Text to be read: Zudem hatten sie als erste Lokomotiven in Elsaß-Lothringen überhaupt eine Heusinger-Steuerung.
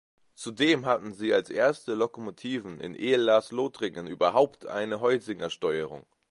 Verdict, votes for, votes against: rejected, 0, 2